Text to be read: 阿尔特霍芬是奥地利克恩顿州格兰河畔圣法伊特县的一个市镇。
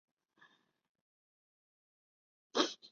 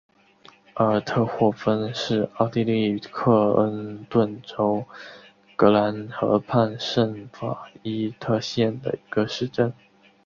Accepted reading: second